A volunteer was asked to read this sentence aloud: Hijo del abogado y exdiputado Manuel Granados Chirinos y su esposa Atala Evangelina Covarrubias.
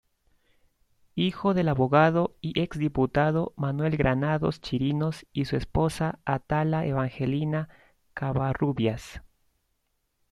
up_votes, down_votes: 1, 2